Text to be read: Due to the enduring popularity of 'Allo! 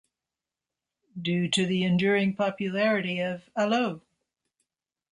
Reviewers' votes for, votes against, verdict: 2, 0, accepted